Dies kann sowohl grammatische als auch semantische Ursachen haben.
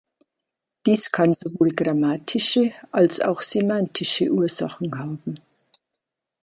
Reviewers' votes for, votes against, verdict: 2, 0, accepted